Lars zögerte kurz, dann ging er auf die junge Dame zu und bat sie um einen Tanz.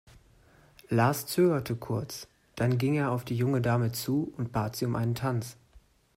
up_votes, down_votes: 3, 0